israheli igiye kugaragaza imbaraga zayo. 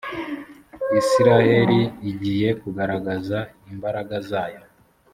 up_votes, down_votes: 3, 0